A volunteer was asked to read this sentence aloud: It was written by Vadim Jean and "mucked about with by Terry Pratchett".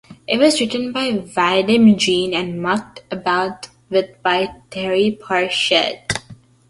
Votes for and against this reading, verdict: 1, 2, rejected